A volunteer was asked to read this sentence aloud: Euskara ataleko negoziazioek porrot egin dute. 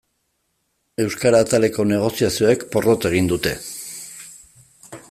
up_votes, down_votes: 2, 0